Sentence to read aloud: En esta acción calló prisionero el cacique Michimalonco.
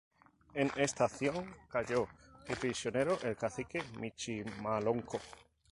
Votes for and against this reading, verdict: 2, 0, accepted